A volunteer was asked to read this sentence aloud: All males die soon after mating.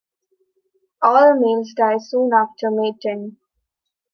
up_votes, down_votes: 2, 0